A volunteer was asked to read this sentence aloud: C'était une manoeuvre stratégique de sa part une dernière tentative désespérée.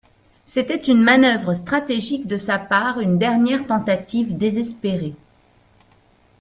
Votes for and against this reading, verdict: 2, 0, accepted